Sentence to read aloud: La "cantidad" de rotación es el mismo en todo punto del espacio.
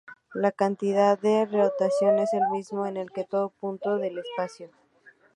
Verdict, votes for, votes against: rejected, 2, 2